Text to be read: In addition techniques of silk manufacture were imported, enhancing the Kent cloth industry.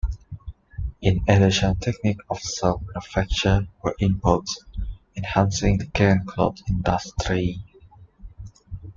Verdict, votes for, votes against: rejected, 0, 2